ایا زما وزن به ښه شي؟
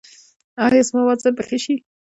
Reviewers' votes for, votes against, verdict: 0, 2, rejected